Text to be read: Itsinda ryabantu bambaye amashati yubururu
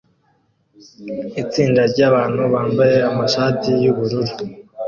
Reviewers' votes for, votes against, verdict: 0, 2, rejected